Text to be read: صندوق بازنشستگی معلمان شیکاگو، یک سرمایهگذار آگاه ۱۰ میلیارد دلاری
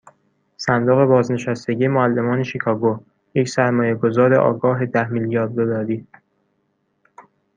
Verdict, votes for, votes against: rejected, 0, 2